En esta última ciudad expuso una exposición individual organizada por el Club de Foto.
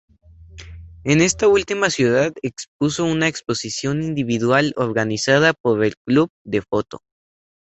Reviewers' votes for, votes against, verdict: 2, 0, accepted